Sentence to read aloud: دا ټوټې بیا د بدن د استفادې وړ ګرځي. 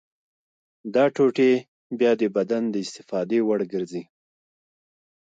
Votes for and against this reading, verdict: 2, 0, accepted